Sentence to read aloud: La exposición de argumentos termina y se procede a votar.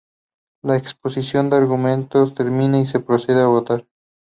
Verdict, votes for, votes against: accepted, 2, 0